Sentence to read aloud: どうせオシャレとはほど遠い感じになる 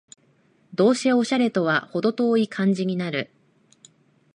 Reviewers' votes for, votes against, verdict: 2, 0, accepted